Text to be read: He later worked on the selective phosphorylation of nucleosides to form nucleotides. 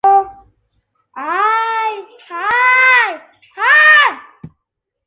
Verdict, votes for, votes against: rejected, 0, 2